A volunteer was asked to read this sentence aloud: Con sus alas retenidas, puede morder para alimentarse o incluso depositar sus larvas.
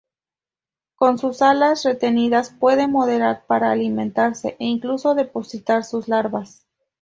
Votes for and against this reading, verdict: 2, 0, accepted